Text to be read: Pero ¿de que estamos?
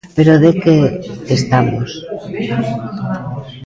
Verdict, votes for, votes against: rejected, 1, 2